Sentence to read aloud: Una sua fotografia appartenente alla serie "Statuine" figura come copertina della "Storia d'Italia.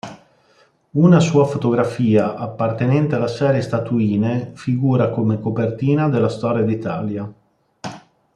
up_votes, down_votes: 2, 0